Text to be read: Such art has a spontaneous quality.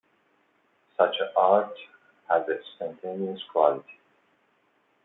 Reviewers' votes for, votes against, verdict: 2, 0, accepted